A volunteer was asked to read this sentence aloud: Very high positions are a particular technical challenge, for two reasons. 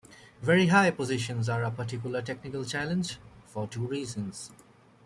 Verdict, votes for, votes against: rejected, 0, 2